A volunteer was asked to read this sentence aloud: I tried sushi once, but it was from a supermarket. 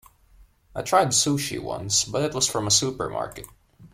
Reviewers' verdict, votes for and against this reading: accepted, 2, 1